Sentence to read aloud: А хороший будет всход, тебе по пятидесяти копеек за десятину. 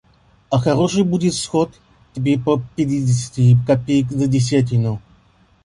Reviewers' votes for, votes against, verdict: 1, 2, rejected